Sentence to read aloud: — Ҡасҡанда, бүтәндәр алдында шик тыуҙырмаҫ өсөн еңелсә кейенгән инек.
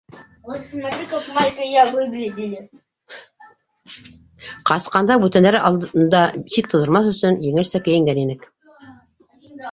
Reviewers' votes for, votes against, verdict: 0, 2, rejected